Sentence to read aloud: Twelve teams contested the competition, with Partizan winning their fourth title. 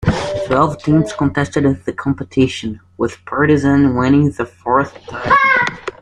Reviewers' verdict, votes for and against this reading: rejected, 0, 2